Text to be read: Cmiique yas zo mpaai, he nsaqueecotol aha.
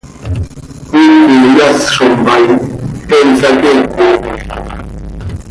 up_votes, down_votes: 0, 2